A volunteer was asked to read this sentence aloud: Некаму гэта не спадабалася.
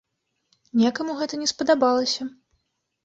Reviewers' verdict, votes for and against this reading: accepted, 2, 0